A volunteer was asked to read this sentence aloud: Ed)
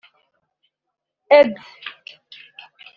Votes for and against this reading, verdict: 2, 0, accepted